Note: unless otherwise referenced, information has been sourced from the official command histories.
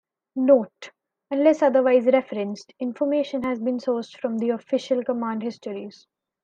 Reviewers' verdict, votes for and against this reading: accepted, 2, 0